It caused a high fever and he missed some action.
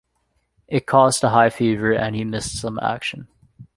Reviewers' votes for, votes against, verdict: 2, 0, accepted